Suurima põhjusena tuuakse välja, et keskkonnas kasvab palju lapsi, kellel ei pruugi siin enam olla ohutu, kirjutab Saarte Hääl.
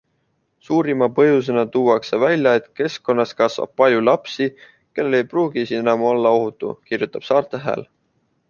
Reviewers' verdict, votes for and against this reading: accepted, 2, 0